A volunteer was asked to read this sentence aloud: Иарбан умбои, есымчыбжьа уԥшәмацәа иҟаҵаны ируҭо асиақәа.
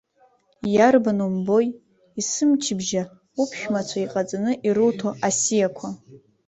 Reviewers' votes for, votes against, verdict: 2, 1, accepted